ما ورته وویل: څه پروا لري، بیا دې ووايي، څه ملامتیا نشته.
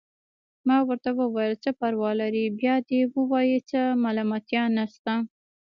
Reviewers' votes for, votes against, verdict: 1, 2, rejected